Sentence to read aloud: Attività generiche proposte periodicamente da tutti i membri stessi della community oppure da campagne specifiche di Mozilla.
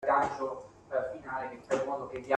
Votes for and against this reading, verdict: 0, 2, rejected